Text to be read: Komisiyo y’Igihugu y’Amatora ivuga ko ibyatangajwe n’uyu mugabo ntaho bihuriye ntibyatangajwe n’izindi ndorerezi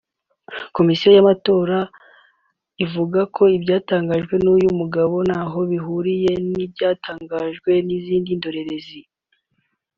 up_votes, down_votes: 2, 0